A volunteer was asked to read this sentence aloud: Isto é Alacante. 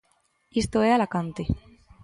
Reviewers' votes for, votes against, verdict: 2, 0, accepted